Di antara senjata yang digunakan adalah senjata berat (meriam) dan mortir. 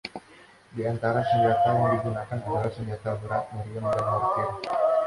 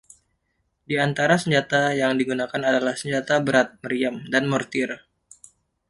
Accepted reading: second